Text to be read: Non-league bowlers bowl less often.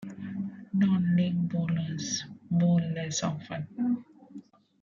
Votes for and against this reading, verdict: 2, 1, accepted